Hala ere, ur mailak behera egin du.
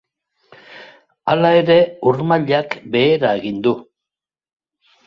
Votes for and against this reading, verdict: 2, 0, accepted